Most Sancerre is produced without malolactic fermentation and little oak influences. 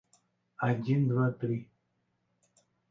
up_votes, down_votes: 0, 2